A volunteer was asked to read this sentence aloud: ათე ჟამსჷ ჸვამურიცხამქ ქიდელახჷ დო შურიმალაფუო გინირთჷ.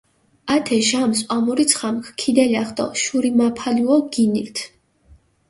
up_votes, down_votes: 1, 2